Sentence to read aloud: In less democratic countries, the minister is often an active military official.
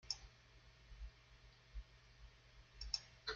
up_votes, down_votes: 0, 2